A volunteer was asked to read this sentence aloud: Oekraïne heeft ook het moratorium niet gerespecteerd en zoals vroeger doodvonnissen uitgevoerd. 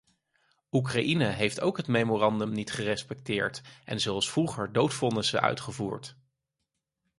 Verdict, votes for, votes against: rejected, 0, 4